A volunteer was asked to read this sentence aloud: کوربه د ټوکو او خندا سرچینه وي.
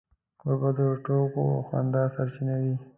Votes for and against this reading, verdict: 0, 2, rejected